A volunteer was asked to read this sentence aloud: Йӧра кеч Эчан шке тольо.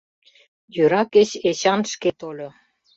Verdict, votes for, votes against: accepted, 2, 0